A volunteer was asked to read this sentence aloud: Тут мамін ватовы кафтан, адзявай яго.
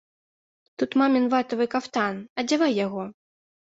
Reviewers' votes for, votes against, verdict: 0, 2, rejected